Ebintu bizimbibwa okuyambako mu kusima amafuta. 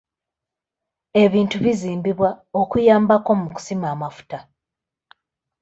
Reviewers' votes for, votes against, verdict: 2, 0, accepted